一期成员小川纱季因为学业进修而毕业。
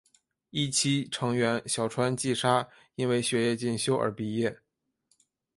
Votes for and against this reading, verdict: 3, 0, accepted